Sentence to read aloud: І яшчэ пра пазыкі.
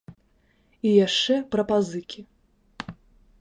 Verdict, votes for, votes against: accepted, 2, 0